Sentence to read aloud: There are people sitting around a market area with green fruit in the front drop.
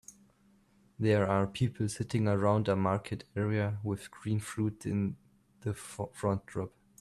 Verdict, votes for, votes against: accepted, 2, 0